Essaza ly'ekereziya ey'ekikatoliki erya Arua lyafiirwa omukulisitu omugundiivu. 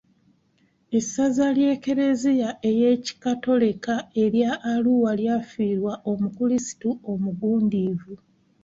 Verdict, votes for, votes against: rejected, 1, 2